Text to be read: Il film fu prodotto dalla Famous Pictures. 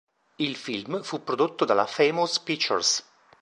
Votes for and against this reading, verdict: 2, 1, accepted